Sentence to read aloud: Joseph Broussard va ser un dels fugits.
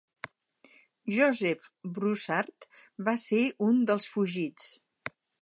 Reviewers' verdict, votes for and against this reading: accepted, 6, 0